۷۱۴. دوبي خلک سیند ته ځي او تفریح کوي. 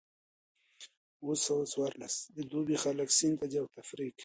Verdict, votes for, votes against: rejected, 0, 2